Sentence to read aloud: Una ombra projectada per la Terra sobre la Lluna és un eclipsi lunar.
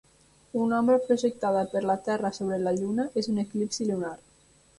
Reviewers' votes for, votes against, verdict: 3, 4, rejected